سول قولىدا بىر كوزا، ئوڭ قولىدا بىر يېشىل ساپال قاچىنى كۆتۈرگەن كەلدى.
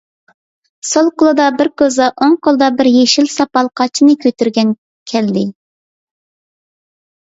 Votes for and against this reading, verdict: 2, 1, accepted